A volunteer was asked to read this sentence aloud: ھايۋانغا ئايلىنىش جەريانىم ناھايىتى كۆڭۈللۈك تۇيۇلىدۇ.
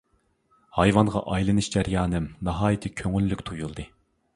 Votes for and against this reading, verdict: 2, 1, accepted